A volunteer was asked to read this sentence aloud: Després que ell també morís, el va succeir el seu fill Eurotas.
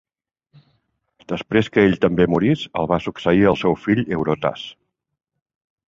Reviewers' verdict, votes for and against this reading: accepted, 3, 0